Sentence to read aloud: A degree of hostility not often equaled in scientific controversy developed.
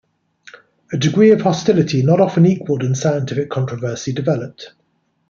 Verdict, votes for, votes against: accepted, 2, 0